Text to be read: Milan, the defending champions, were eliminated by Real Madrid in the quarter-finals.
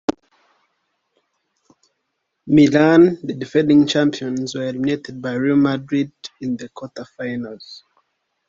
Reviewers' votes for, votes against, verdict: 0, 2, rejected